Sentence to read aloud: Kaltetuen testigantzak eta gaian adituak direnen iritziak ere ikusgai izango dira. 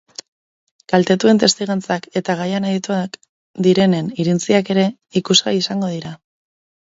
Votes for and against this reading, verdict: 0, 2, rejected